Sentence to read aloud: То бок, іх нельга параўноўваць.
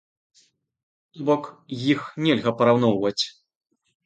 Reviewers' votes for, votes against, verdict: 0, 2, rejected